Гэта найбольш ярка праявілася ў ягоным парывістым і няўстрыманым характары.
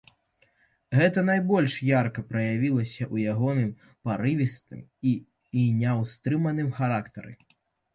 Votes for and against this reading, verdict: 0, 2, rejected